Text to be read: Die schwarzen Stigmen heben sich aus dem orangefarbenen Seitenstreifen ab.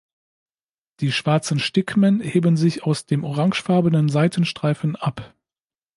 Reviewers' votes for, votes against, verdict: 2, 0, accepted